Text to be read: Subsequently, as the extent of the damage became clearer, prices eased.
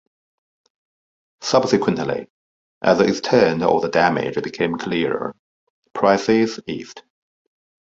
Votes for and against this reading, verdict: 0, 2, rejected